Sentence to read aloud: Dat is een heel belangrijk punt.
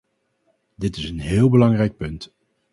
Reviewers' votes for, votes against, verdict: 0, 2, rejected